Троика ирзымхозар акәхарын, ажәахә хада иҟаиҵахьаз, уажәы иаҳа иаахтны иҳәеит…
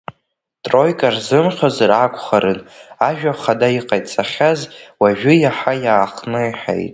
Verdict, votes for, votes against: rejected, 1, 2